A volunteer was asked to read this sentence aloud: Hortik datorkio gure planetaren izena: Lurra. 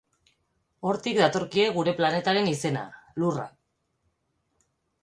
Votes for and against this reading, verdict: 0, 4, rejected